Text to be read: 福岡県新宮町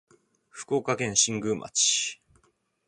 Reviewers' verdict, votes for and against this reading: accepted, 2, 0